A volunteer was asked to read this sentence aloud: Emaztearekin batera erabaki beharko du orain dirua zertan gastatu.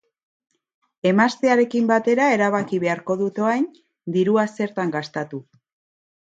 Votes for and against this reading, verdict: 2, 3, rejected